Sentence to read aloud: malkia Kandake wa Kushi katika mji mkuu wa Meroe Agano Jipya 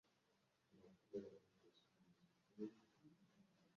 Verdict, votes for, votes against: rejected, 0, 2